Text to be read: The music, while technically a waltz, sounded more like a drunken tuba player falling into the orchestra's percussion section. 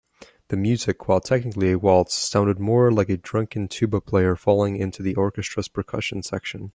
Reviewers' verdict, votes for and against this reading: accepted, 2, 0